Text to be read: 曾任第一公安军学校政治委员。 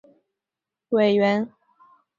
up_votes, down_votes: 0, 3